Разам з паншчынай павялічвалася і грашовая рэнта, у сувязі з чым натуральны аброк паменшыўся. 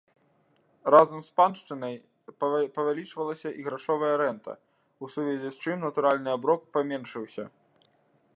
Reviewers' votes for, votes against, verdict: 1, 2, rejected